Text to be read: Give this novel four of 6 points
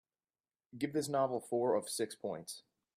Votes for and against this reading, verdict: 0, 2, rejected